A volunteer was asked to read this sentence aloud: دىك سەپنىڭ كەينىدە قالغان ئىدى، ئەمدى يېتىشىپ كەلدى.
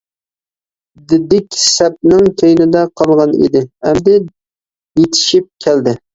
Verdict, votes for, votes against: rejected, 0, 2